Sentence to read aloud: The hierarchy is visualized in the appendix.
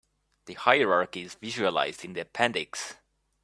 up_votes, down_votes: 1, 2